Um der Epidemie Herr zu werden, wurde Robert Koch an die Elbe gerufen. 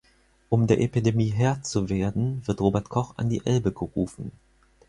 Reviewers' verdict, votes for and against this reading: rejected, 0, 4